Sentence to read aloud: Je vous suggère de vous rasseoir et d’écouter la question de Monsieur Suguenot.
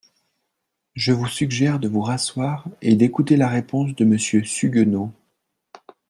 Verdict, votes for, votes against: rejected, 0, 2